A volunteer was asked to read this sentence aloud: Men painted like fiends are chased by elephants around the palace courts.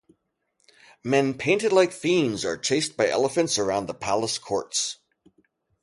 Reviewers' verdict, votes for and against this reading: accepted, 2, 0